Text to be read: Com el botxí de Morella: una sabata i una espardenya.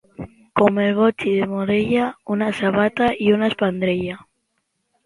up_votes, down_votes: 0, 3